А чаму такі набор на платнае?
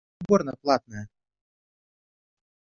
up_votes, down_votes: 1, 2